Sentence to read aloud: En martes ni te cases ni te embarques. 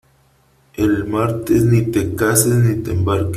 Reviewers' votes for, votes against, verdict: 1, 2, rejected